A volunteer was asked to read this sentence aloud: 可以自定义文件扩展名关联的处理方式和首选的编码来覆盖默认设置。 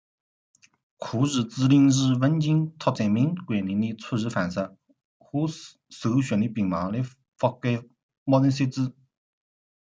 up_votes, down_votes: 0, 2